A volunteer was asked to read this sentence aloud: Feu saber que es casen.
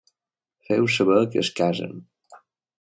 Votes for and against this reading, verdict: 3, 0, accepted